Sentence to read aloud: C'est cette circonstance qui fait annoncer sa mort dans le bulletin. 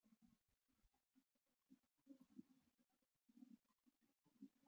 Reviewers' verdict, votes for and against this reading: rejected, 0, 2